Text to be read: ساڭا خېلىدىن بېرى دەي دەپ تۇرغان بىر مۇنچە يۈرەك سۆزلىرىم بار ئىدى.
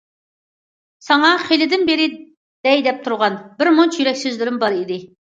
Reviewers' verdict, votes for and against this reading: accepted, 2, 0